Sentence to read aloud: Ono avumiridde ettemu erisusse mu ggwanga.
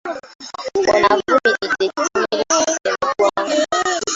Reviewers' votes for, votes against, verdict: 0, 2, rejected